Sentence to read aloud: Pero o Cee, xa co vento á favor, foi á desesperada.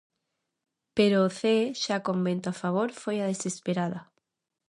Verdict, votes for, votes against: rejected, 0, 2